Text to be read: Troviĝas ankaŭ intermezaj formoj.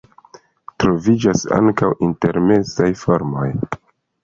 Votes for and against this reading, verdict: 0, 2, rejected